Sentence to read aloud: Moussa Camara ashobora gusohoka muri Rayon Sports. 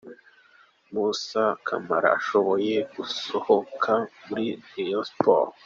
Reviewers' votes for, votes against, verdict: 2, 0, accepted